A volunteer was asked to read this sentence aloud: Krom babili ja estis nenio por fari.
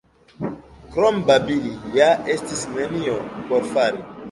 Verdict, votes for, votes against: rejected, 1, 2